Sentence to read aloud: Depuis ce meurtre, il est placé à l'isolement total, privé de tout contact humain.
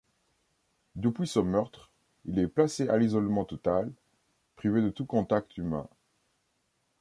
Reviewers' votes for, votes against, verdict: 2, 0, accepted